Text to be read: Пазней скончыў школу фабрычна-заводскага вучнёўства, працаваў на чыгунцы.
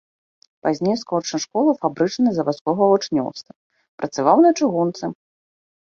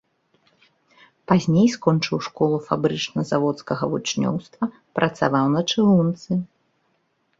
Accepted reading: second